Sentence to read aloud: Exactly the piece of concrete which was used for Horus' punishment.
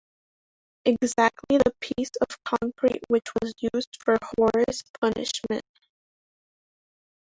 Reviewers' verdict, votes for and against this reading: rejected, 1, 3